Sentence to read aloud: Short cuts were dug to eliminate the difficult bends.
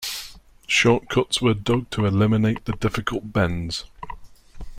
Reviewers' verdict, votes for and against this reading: rejected, 1, 2